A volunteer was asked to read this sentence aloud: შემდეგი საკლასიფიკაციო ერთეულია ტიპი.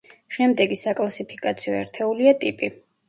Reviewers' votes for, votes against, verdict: 0, 2, rejected